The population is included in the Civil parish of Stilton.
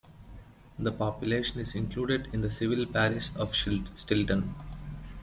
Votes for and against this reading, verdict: 1, 3, rejected